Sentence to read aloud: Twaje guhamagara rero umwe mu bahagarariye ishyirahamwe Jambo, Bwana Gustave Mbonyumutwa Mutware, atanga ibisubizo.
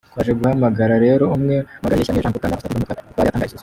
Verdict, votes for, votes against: rejected, 0, 2